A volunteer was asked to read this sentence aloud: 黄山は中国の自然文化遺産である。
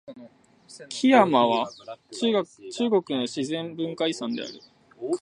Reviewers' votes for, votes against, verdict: 0, 2, rejected